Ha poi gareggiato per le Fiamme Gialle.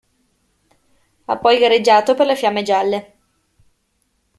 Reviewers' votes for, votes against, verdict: 2, 0, accepted